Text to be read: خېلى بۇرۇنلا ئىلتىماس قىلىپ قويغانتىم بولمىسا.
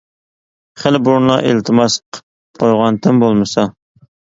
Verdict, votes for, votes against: rejected, 0, 2